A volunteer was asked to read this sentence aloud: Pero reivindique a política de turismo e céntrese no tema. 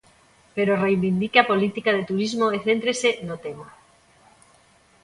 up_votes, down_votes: 2, 0